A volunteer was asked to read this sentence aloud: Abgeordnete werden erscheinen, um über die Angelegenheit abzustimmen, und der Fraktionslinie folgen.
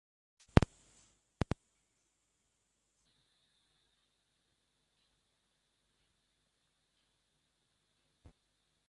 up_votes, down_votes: 0, 2